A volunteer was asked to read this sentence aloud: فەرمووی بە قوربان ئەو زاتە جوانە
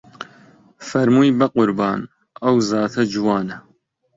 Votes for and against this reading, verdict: 0, 2, rejected